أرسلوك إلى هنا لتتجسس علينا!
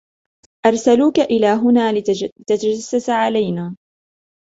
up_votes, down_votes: 0, 2